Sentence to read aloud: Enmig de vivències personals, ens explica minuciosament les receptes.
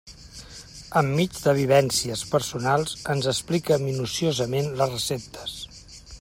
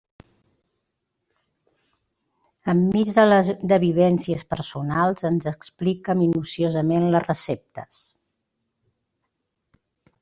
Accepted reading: first